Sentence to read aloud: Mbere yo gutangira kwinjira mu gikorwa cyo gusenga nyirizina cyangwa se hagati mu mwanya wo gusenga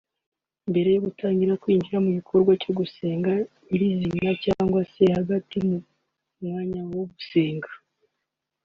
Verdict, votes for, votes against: rejected, 0, 2